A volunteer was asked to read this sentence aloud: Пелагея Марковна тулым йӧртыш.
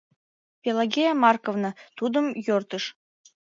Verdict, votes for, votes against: rejected, 1, 2